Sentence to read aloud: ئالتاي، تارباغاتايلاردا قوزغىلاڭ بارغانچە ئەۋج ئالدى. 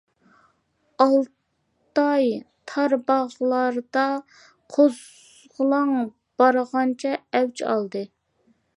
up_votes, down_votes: 0, 2